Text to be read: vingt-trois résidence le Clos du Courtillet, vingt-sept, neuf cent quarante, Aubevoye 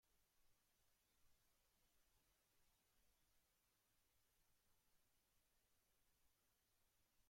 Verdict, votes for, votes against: rejected, 0, 2